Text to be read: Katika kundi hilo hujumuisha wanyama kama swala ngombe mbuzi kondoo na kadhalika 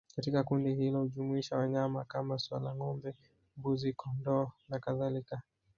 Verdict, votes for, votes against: accepted, 2, 0